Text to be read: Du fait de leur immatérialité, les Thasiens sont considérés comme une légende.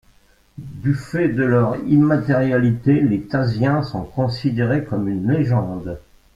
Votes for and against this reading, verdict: 2, 0, accepted